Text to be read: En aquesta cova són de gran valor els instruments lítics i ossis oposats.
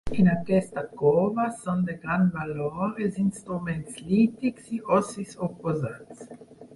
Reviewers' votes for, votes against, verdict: 0, 4, rejected